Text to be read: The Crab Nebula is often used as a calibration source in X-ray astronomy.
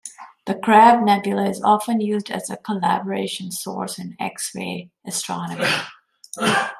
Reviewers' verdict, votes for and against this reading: rejected, 0, 2